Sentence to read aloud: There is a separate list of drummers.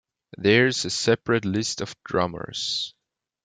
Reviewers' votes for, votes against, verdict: 1, 2, rejected